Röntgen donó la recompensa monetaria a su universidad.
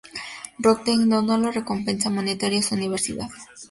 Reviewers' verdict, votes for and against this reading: accepted, 2, 0